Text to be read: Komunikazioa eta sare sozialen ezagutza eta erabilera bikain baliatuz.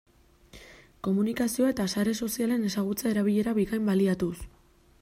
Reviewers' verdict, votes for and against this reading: rejected, 1, 2